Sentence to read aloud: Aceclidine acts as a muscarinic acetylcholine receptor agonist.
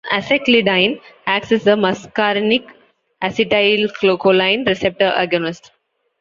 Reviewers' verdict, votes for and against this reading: rejected, 0, 2